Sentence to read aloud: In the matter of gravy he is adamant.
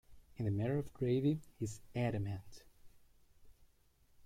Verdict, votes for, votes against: rejected, 1, 2